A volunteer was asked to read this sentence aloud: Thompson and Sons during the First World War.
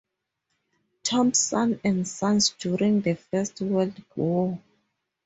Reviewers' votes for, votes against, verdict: 2, 2, rejected